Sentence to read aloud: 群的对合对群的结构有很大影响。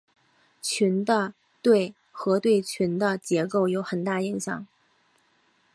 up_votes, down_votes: 2, 0